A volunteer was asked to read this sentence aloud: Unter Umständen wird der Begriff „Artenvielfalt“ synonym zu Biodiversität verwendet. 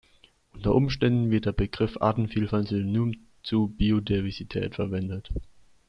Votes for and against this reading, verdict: 2, 1, accepted